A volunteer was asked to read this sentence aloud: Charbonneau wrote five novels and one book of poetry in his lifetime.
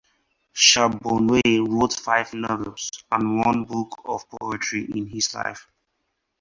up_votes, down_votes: 4, 6